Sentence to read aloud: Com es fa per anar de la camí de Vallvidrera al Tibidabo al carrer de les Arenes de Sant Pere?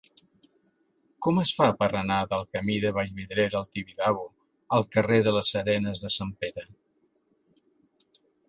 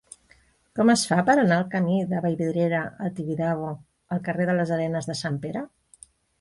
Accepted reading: first